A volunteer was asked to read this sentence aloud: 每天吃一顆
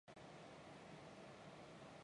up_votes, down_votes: 0, 3